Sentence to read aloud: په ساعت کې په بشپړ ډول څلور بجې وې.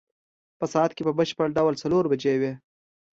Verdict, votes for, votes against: accepted, 2, 0